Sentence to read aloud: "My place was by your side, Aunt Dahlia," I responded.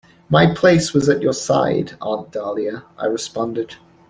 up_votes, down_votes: 1, 2